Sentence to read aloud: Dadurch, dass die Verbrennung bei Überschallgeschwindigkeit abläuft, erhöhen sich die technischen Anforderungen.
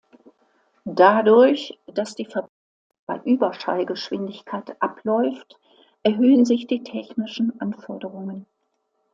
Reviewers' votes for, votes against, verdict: 0, 2, rejected